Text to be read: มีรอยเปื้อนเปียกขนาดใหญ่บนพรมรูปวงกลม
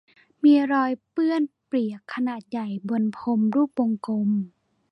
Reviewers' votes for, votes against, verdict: 2, 1, accepted